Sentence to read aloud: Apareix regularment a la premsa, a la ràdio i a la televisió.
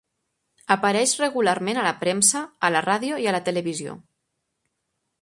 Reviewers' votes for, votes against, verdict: 2, 0, accepted